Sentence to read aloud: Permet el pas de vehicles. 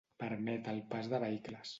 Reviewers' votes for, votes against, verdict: 1, 2, rejected